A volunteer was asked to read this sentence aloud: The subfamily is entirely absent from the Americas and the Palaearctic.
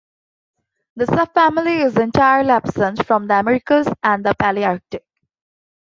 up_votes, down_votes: 2, 0